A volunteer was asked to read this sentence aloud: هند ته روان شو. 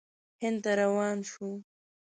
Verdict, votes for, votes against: accepted, 2, 1